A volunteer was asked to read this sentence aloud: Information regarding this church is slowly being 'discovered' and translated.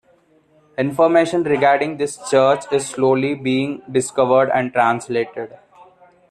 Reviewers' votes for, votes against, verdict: 2, 0, accepted